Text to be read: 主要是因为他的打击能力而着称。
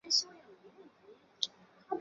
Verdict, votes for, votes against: rejected, 0, 2